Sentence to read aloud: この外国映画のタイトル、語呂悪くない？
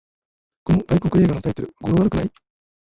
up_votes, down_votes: 0, 2